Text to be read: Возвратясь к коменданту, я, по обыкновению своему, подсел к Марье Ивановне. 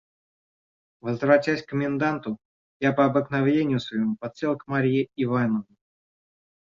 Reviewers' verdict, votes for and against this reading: rejected, 1, 2